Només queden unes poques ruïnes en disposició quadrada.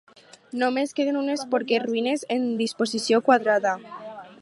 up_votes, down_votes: 0, 4